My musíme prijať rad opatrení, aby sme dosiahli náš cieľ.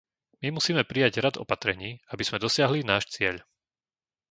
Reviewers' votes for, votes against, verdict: 2, 0, accepted